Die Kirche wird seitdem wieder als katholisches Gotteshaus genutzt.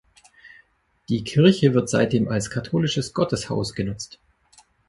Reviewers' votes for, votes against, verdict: 1, 2, rejected